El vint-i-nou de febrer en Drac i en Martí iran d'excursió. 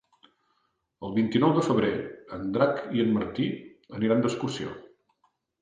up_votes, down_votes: 1, 2